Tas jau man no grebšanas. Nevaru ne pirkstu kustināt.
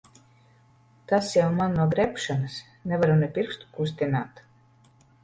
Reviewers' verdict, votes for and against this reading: accepted, 2, 0